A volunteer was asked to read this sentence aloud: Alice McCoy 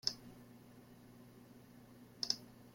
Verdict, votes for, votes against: rejected, 0, 2